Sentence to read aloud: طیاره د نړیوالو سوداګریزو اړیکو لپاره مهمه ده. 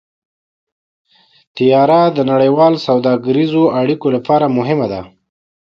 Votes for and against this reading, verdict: 2, 0, accepted